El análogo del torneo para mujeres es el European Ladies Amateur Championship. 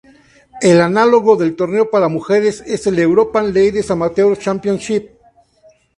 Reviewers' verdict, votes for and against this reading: accepted, 4, 2